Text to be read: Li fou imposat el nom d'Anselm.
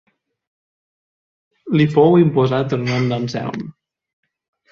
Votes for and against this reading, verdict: 4, 0, accepted